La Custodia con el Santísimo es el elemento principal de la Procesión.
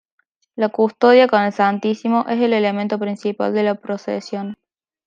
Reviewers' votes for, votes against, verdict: 2, 0, accepted